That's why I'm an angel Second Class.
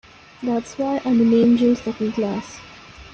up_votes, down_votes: 2, 1